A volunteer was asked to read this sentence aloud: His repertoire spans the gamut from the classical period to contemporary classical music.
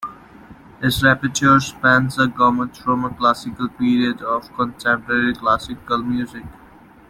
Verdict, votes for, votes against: rejected, 1, 2